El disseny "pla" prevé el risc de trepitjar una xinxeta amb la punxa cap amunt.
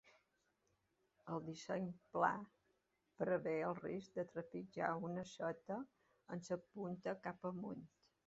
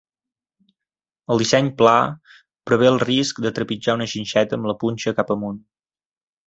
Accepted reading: second